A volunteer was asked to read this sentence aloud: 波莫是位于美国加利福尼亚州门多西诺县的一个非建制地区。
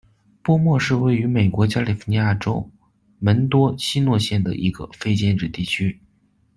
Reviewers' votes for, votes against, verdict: 2, 0, accepted